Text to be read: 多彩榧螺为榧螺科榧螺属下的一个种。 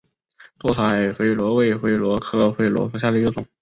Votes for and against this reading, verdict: 2, 0, accepted